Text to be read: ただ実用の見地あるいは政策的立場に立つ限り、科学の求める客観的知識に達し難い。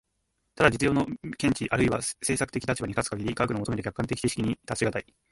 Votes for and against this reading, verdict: 1, 2, rejected